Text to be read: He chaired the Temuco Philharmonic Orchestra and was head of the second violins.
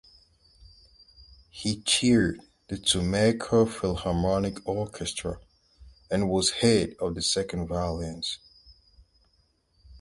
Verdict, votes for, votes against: rejected, 0, 4